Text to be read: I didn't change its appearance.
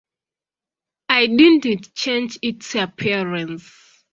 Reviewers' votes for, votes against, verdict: 0, 2, rejected